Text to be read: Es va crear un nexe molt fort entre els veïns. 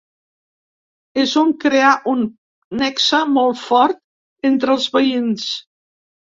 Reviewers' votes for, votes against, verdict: 0, 2, rejected